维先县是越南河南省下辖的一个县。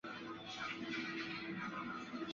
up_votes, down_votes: 1, 2